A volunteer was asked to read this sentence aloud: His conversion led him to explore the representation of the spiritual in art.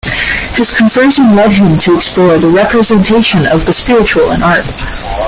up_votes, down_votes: 0, 2